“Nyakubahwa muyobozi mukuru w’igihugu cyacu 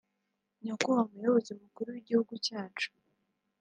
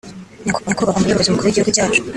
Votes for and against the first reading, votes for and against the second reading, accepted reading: 2, 0, 1, 2, first